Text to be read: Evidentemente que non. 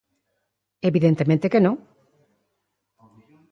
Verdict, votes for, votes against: rejected, 1, 2